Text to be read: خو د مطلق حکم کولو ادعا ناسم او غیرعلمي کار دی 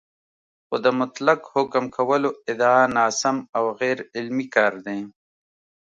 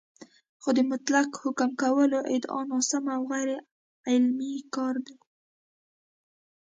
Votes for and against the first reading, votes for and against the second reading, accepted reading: 2, 0, 1, 2, first